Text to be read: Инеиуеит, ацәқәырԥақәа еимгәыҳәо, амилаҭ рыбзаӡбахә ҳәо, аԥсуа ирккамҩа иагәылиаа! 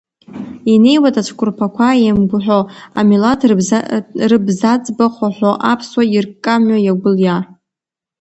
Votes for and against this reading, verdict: 1, 2, rejected